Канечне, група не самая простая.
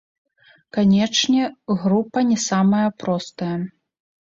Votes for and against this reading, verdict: 3, 0, accepted